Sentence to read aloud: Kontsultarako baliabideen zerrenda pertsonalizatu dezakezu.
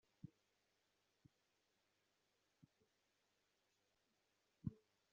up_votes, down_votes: 0, 2